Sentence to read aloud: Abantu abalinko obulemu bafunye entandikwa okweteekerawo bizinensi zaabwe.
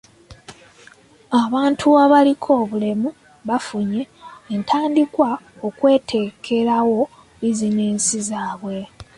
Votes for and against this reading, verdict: 0, 2, rejected